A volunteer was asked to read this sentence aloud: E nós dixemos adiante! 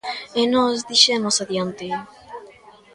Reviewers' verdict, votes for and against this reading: accepted, 2, 1